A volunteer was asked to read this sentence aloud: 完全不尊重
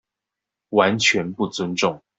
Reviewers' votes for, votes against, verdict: 2, 0, accepted